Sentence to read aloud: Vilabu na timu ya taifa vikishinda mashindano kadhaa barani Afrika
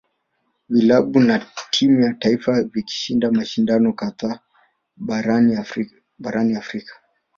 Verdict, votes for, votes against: rejected, 1, 2